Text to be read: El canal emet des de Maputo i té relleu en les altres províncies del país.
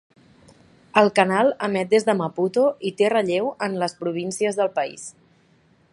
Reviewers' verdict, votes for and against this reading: rejected, 1, 2